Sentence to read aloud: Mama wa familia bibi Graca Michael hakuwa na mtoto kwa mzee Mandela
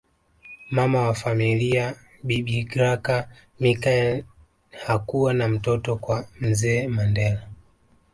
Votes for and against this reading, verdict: 2, 1, accepted